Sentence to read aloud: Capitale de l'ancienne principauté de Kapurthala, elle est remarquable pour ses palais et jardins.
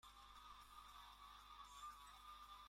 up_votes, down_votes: 0, 2